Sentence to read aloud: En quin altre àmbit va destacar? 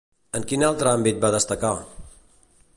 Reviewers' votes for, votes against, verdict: 2, 0, accepted